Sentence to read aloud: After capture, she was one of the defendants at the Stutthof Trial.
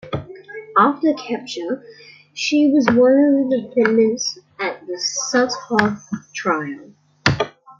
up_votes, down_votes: 1, 2